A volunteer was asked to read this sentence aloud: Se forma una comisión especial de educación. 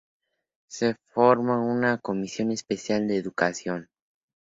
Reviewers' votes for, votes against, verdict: 2, 0, accepted